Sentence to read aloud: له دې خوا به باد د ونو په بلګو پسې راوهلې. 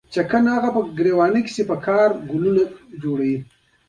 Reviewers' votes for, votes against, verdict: 2, 1, accepted